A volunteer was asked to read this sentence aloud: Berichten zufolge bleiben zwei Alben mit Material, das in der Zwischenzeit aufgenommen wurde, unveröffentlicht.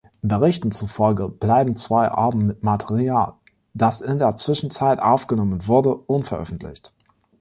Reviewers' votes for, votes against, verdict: 1, 2, rejected